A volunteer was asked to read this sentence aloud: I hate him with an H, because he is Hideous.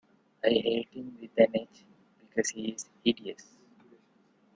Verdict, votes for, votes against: accepted, 2, 0